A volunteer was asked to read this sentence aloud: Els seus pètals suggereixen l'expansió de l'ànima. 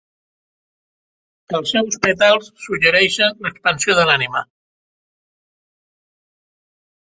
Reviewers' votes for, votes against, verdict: 3, 0, accepted